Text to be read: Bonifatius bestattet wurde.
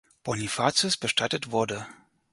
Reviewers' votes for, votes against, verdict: 6, 0, accepted